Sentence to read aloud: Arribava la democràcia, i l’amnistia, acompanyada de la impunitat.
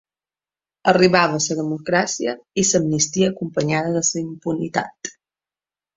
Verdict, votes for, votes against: rejected, 1, 2